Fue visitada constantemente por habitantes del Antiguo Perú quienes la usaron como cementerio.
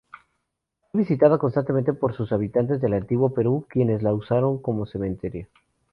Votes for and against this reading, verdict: 0, 2, rejected